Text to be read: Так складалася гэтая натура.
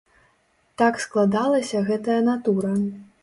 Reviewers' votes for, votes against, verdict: 2, 0, accepted